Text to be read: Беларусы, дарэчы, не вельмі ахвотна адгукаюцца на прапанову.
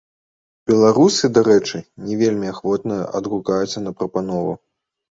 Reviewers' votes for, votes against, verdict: 2, 0, accepted